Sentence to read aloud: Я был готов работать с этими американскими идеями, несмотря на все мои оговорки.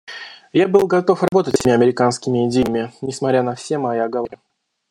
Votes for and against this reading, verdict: 0, 2, rejected